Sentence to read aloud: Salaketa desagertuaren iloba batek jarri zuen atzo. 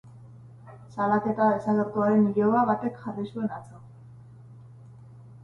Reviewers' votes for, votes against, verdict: 2, 2, rejected